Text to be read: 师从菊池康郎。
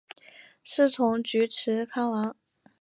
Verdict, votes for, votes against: accepted, 3, 0